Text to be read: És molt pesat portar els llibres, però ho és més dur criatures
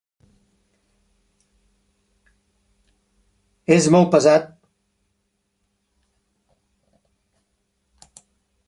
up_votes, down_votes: 0, 2